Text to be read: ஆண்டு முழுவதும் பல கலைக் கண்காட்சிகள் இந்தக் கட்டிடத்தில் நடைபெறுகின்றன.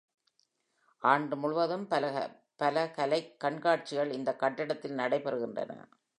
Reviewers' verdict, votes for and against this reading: rejected, 0, 2